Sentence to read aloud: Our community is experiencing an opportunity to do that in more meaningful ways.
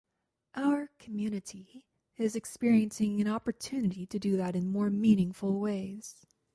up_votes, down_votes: 0, 2